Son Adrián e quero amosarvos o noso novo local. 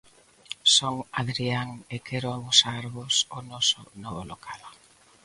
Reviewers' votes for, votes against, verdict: 2, 0, accepted